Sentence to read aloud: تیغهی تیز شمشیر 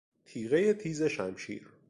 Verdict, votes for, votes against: accepted, 2, 0